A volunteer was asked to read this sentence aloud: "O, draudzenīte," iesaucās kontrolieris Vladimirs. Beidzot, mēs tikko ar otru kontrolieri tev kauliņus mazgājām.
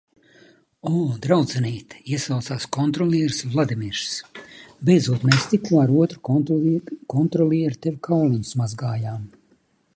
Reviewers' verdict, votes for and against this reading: rejected, 0, 2